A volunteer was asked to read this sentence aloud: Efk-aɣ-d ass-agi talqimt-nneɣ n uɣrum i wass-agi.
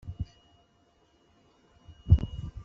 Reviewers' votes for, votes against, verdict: 0, 2, rejected